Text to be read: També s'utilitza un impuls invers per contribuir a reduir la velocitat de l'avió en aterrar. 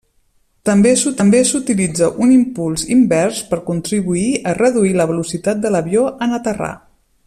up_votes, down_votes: 0, 2